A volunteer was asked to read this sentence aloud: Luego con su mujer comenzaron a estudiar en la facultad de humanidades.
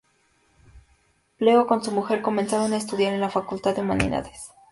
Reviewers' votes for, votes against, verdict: 2, 0, accepted